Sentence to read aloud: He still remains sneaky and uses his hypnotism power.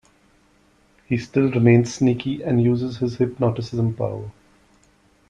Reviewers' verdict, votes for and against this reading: rejected, 1, 2